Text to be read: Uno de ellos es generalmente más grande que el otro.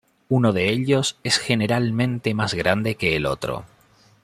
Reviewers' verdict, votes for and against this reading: accepted, 2, 0